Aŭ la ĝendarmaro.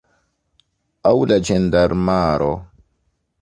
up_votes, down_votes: 2, 1